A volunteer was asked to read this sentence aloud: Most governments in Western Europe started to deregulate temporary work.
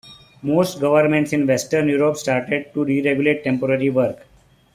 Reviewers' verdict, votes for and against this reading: accepted, 2, 0